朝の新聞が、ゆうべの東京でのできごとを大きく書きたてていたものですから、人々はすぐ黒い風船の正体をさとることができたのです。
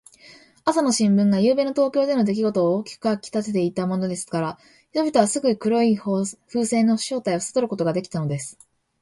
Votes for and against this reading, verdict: 3, 1, accepted